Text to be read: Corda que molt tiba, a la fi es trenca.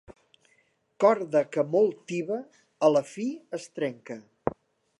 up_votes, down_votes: 2, 0